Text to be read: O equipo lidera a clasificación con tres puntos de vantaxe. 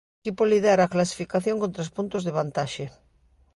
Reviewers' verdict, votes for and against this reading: rejected, 1, 2